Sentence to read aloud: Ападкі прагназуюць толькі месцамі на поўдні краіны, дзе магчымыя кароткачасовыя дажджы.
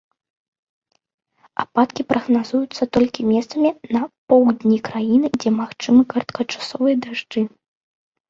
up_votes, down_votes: 1, 2